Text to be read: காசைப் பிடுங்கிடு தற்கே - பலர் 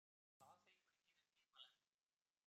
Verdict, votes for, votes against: rejected, 1, 2